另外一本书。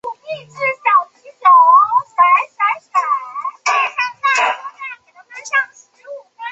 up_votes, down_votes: 0, 7